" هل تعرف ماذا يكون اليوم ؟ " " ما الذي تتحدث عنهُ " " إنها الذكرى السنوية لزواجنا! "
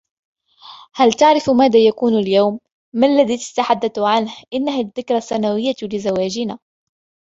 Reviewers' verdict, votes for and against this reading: accepted, 2, 0